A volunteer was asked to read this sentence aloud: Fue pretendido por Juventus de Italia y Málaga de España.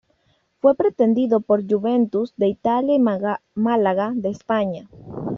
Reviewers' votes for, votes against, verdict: 1, 2, rejected